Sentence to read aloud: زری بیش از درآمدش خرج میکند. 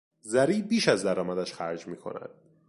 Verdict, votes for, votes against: accepted, 2, 0